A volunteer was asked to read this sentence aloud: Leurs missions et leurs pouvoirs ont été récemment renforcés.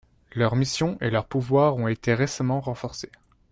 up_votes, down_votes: 2, 0